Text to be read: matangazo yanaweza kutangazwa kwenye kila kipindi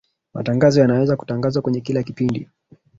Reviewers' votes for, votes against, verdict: 3, 1, accepted